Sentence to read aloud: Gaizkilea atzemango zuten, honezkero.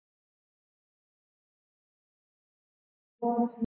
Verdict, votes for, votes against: rejected, 0, 2